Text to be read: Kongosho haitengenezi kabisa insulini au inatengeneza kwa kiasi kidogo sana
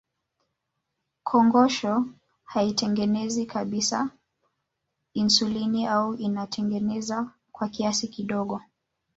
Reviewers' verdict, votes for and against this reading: rejected, 1, 2